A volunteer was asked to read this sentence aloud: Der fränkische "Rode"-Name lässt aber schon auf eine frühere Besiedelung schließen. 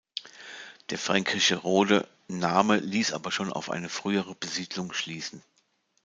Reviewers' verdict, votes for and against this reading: rejected, 1, 2